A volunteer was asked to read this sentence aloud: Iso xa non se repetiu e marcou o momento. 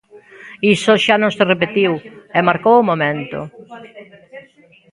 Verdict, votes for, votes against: rejected, 1, 2